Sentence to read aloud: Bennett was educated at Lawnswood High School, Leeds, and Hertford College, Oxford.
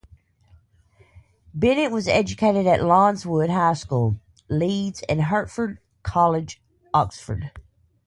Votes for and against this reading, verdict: 2, 0, accepted